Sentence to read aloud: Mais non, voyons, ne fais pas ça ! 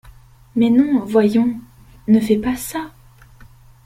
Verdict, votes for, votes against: accepted, 2, 0